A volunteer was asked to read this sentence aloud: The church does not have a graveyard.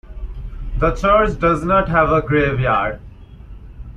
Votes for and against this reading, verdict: 3, 1, accepted